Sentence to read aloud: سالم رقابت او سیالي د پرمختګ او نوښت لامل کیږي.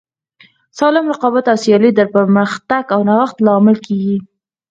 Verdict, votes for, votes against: rejected, 0, 4